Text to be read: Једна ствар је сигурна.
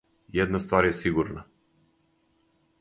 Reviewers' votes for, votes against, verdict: 4, 0, accepted